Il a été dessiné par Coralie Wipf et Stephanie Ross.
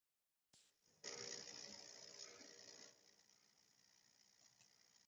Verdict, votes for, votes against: rejected, 0, 2